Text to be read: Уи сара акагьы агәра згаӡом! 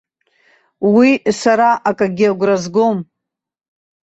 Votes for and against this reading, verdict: 1, 2, rejected